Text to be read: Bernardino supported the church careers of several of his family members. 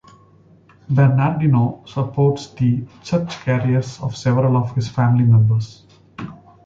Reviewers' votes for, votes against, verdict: 0, 2, rejected